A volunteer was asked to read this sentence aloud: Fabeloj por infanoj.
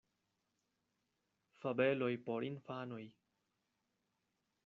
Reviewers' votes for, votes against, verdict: 1, 2, rejected